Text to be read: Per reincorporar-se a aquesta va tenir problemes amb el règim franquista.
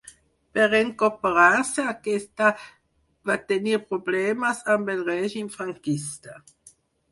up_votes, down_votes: 0, 4